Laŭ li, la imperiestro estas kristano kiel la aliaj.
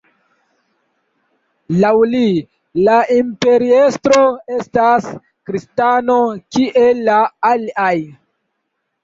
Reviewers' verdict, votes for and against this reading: rejected, 1, 2